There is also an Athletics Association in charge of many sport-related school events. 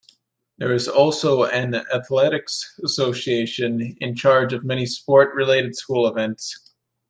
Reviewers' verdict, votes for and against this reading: accepted, 2, 0